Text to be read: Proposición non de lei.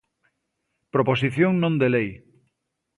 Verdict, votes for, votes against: accepted, 2, 0